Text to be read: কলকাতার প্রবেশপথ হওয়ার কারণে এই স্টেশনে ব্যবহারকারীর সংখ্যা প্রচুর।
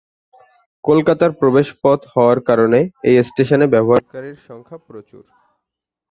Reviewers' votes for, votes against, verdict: 2, 1, accepted